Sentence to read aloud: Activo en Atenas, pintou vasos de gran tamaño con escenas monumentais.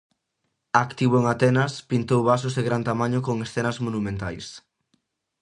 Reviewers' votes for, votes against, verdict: 2, 0, accepted